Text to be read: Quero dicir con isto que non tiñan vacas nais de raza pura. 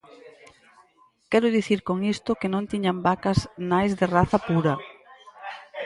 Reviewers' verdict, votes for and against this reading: accepted, 4, 0